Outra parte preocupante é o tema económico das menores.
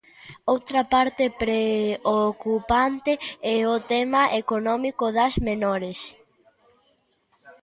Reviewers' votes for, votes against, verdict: 2, 0, accepted